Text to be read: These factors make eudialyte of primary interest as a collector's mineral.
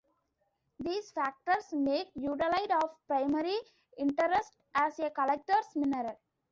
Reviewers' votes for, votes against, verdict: 2, 1, accepted